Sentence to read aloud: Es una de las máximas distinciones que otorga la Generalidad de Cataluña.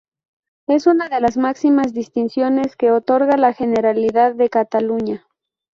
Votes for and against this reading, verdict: 0, 2, rejected